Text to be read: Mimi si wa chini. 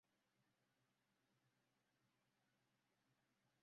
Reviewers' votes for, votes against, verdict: 0, 2, rejected